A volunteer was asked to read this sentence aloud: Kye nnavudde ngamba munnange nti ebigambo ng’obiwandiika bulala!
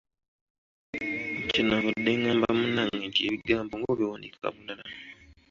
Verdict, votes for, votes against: accepted, 2, 0